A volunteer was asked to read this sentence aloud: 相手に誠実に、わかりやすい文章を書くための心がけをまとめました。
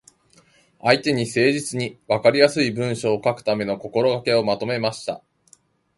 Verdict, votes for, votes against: accepted, 2, 0